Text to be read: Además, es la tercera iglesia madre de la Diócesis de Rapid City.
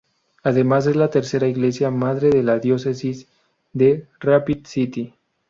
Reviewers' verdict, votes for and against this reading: rejected, 0, 2